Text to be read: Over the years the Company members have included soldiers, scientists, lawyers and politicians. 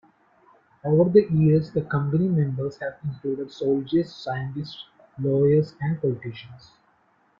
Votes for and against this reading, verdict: 2, 0, accepted